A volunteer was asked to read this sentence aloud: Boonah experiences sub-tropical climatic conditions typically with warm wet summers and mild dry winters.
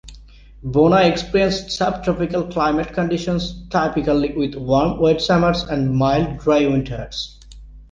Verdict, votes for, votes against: accepted, 2, 1